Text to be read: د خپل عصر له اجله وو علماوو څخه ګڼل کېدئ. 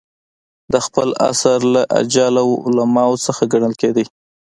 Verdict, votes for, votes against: rejected, 1, 2